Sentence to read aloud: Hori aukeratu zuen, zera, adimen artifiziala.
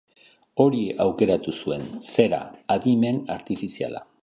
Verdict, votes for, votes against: accepted, 2, 0